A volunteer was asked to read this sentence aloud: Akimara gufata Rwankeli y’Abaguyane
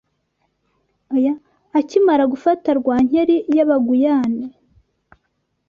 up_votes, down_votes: 1, 2